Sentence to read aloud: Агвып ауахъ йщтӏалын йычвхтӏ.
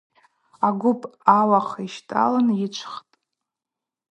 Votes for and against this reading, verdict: 2, 0, accepted